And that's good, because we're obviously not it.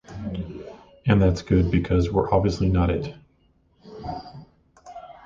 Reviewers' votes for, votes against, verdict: 2, 0, accepted